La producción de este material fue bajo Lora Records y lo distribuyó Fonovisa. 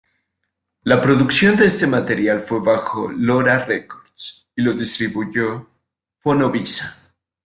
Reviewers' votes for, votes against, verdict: 1, 2, rejected